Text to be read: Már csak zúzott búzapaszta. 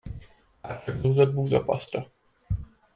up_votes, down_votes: 1, 2